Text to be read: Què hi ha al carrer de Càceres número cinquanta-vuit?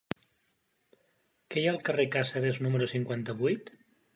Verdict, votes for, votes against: rejected, 0, 2